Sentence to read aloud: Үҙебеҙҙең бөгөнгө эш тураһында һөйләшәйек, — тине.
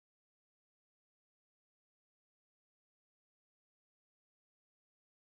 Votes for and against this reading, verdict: 0, 2, rejected